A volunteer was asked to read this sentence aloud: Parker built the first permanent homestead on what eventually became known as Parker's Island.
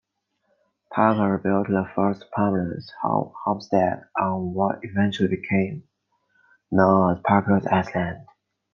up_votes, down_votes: 2, 1